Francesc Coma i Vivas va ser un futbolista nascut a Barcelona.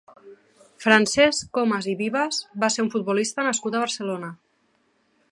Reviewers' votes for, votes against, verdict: 1, 2, rejected